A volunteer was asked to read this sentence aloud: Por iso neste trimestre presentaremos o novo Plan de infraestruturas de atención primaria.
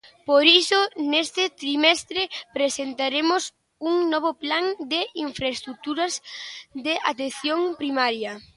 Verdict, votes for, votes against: rejected, 0, 2